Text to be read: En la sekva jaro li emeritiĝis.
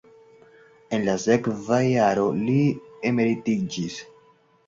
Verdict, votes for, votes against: accepted, 2, 0